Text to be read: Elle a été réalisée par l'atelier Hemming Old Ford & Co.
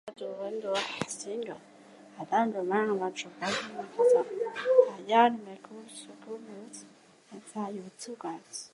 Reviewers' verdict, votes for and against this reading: rejected, 0, 2